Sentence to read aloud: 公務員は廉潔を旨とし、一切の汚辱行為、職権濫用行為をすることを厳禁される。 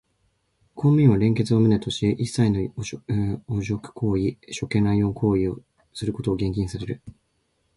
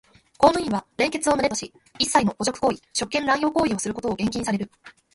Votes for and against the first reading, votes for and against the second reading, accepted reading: 1, 2, 2, 1, second